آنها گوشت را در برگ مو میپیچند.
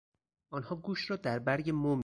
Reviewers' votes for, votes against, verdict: 0, 4, rejected